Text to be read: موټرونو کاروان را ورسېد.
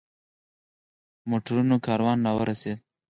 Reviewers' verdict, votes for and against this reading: rejected, 2, 4